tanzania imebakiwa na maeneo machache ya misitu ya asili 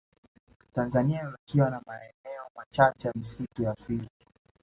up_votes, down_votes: 2, 0